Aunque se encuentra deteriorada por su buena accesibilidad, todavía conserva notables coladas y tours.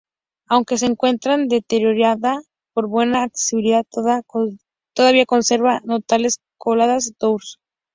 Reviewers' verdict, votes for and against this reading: rejected, 0, 2